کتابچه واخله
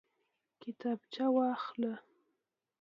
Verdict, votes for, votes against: accepted, 2, 0